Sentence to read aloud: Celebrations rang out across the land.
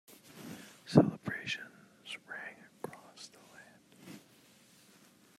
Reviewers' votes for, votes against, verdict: 0, 2, rejected